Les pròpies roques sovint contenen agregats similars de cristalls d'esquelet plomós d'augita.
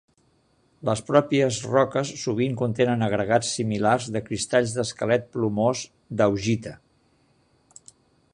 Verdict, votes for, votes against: accepted, 3, 0